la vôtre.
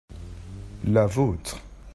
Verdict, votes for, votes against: accepted, 2, 0